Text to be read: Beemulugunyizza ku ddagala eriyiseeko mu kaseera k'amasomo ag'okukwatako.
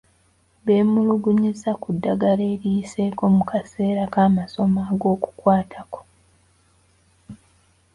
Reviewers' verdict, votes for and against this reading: accepted, 2, 0